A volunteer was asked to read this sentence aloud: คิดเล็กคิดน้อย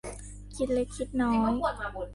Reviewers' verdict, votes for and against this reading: rejected, 1, 2